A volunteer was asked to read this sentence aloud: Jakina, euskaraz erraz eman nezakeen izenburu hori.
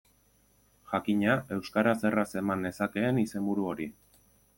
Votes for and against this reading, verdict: 2, 0, accepted